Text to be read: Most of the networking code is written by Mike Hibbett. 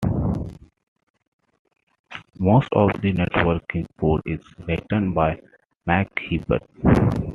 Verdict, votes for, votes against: accepted, 2, 0